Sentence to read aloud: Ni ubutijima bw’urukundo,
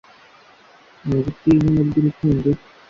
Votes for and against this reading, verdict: 0, 2, rejected